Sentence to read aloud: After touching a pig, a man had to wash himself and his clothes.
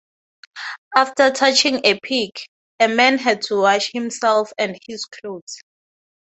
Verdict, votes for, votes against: rejected, 3, 3